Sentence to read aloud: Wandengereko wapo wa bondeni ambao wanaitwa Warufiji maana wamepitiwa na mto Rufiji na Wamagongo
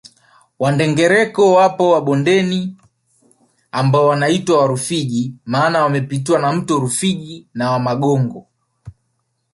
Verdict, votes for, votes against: rejected, 1, 2